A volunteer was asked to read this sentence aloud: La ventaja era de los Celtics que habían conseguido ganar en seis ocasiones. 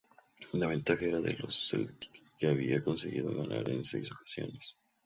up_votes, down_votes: 2, 0